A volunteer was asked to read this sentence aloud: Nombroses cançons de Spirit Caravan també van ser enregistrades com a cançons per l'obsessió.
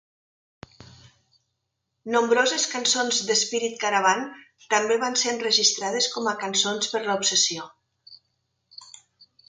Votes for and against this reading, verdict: 0, 3, rejected